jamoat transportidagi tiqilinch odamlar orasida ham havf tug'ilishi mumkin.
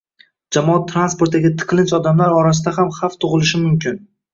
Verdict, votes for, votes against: rejected, 1, 2